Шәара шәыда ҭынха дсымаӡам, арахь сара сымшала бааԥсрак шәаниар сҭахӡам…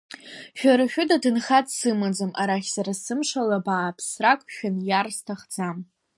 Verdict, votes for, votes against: accepted, 2, 0